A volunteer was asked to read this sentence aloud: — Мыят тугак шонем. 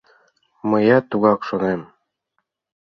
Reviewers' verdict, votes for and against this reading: accepted, 2, 0